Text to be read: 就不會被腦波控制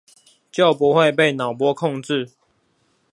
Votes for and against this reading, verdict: 2, 0, accepted